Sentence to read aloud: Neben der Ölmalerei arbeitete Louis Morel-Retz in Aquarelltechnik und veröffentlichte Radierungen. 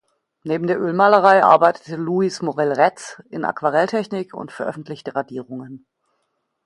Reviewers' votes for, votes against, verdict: 2, 0, accepted